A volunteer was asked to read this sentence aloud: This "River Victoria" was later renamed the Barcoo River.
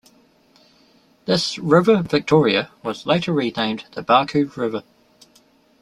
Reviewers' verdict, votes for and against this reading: accepted, 2, 0